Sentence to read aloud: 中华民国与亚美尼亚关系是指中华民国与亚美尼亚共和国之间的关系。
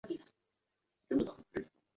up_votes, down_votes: 1, 2